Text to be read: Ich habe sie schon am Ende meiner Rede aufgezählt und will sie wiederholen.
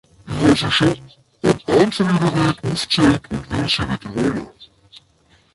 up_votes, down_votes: 0, 2